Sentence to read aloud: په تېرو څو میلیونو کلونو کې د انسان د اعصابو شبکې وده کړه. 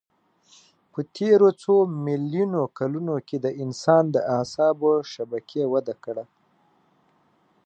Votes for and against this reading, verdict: 2, 0, accepted